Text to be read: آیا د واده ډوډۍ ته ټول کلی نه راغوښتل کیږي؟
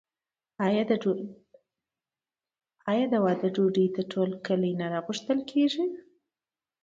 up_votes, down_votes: 1, 2